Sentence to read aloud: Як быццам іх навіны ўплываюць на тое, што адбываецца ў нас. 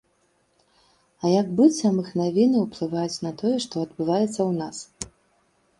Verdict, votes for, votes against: accepted, 2, 0